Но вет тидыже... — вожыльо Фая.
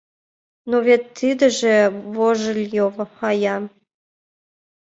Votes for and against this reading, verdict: 0, 2, rejected